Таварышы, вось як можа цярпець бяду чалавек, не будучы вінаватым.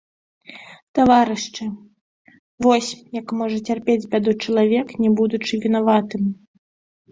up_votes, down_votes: 1, 2